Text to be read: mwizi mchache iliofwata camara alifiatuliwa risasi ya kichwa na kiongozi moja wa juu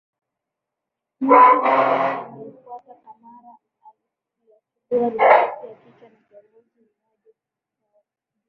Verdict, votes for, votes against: rejected, 0, 2